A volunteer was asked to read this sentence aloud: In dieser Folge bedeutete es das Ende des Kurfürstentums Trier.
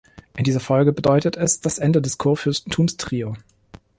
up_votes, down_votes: 0, 2